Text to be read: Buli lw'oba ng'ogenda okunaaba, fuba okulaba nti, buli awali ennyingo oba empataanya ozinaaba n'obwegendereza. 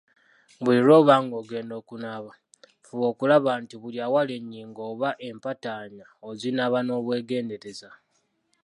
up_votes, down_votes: 2, 0